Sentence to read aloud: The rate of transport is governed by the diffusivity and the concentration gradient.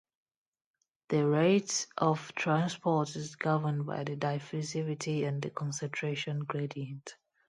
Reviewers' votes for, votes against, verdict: 2, 0, accepted